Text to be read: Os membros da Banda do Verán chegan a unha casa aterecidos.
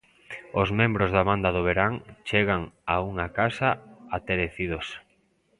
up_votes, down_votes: 2, 0